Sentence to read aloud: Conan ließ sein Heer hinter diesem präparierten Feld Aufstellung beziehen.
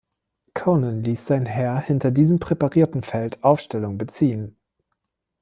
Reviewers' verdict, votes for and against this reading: rejected, 0, 2